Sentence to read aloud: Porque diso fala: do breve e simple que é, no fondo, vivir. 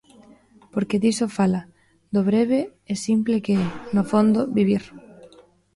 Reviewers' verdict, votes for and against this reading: accepted, 2, 1